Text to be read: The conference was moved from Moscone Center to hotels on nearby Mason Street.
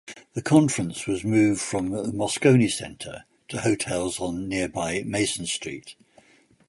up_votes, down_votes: 1, 2